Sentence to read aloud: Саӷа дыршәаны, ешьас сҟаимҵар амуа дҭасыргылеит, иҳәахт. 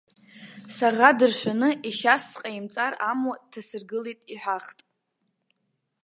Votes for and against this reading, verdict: 2, 1, accepted